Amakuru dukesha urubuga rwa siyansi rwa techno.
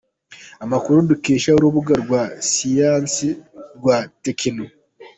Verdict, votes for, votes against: accepted, 2, 0